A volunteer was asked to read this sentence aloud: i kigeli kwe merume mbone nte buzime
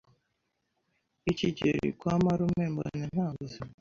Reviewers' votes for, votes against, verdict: 1, 2, rejected